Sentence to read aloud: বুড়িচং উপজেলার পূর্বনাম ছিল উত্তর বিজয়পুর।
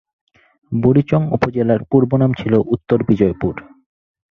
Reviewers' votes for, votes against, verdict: 4, 0, accepted